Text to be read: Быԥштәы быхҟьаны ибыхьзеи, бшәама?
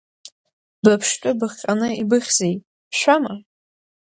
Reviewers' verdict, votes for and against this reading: accepted, 2, 0